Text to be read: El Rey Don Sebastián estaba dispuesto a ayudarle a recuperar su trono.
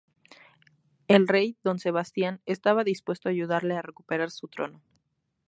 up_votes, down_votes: 2, 0